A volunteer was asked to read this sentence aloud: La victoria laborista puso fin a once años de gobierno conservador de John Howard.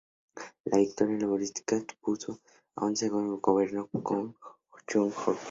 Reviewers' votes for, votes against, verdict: 0, 2, rejected